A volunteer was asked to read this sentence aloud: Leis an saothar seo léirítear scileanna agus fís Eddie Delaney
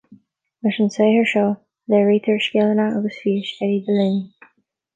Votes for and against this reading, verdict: 2, 0, accepted